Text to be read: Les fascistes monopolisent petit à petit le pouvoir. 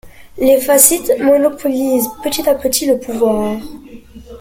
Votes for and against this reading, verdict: 1, 2, rejected